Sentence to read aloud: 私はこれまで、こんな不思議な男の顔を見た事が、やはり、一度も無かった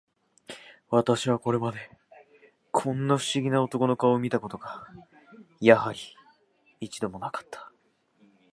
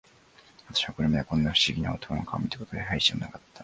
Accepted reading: first